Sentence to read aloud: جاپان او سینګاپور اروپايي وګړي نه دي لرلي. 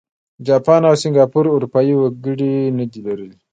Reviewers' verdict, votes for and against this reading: accepted, 2, 1